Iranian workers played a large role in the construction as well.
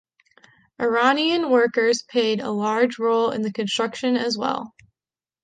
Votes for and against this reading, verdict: 0, 2, rejected